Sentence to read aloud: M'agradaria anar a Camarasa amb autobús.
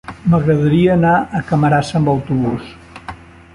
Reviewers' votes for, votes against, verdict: 3, 0, accepted